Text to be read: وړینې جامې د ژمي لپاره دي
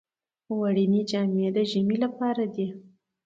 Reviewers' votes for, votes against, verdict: 2, 0, accepted